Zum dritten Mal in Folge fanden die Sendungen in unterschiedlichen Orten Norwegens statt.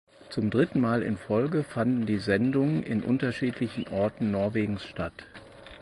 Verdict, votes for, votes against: accepted, 4, 0